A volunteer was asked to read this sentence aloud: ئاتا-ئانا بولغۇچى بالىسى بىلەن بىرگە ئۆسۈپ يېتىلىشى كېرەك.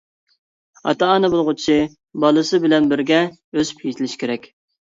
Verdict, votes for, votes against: accepted, 2, 0